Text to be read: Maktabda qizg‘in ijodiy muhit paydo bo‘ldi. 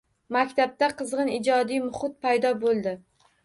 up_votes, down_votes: 1, 2